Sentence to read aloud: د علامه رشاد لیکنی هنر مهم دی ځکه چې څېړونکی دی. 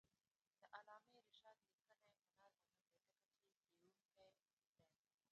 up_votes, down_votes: 1, 2